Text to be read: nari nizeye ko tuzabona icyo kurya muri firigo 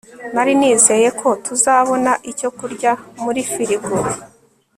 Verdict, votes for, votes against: accepted, 2, 0